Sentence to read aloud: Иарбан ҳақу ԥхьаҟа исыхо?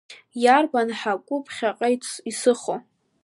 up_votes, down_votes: 1, 2